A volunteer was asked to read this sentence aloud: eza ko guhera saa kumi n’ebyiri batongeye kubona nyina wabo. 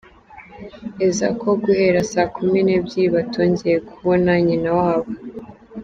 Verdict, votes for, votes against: accepted, 3, 0